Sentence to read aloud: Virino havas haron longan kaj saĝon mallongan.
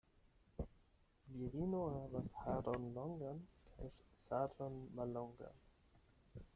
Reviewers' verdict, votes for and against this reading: rejected, 4, 8